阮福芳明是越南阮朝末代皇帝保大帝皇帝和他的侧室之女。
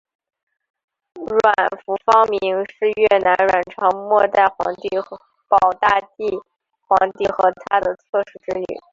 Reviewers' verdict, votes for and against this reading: rejected, 1, 2